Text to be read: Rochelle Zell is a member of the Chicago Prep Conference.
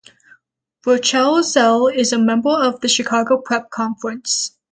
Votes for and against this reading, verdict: 0, 3, rejected